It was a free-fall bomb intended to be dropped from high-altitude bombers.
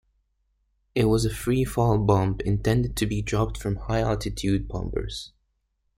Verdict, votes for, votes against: accepted, 2, 0